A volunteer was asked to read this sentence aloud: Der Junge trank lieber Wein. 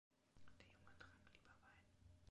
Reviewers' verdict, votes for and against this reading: rejected, 1, 2